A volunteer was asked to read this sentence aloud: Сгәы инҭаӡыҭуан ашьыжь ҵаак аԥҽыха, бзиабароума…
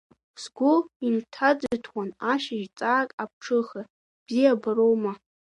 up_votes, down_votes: 2, 0